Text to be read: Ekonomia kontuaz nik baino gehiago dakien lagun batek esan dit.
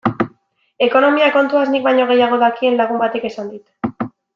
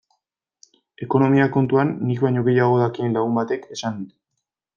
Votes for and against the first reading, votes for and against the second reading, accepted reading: 2, 0, 1, 2, first